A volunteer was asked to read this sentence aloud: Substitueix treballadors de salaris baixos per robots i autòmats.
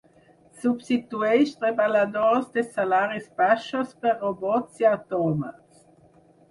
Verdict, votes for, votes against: accepted, 6, 0